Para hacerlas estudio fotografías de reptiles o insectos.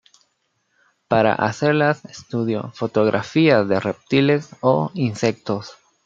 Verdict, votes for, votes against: accepted, 2, 0